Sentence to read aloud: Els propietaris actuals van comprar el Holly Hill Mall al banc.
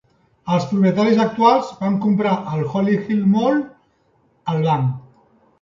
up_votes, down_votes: 3, 0